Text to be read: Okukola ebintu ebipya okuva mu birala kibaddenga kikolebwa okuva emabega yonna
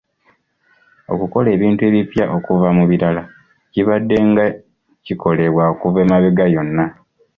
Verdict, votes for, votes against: accepted, 2, 0